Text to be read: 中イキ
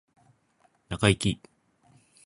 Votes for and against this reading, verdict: 3, 2, accepted